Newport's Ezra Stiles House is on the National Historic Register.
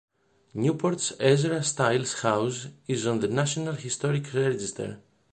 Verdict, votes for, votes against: accepted, 2, 0